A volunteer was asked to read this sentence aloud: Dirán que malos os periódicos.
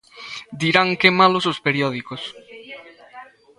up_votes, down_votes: 1, 2